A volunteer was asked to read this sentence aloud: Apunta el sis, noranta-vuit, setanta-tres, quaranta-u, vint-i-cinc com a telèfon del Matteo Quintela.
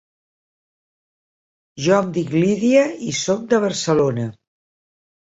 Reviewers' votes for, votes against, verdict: 0, 2, rejected